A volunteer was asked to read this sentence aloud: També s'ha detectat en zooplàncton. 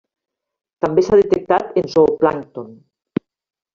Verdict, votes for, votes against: accepted, 3, 1